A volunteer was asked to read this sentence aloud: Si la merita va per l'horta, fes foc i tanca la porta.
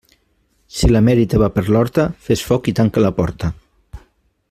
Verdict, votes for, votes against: rejected, 0, 2